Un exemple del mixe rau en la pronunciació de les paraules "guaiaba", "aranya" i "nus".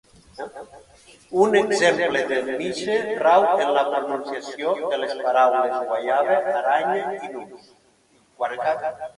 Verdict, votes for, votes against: rejected, 0, 2